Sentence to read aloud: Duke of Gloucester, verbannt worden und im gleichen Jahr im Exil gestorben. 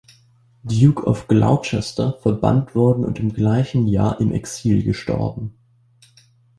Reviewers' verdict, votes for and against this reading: rejected, 1, 2